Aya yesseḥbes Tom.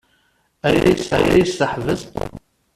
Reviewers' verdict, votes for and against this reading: rejected, 0, 2